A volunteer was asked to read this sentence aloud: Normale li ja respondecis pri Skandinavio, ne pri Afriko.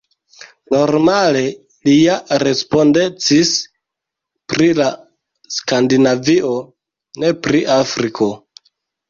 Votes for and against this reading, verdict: 0, 2, rejected